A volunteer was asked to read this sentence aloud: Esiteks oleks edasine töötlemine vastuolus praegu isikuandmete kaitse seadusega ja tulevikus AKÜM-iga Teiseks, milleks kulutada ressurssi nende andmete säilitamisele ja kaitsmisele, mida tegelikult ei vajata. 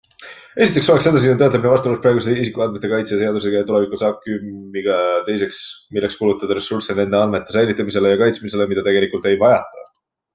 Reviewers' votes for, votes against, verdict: 2, 1, accepted